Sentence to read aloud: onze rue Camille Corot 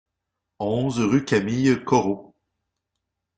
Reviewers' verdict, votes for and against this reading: accepted, 2, 0